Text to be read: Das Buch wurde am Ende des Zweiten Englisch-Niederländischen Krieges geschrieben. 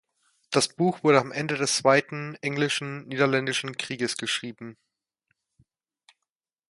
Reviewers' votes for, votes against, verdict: 0, 2, rejected